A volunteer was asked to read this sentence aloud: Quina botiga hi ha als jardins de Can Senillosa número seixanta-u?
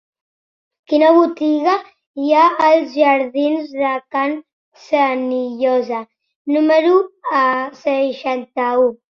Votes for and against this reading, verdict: 0, 2, rejected